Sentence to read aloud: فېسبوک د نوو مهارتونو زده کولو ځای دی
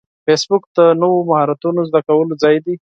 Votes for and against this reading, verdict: 4, 0, accepted